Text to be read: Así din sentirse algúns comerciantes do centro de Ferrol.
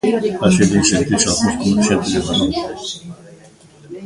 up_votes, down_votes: 0, 2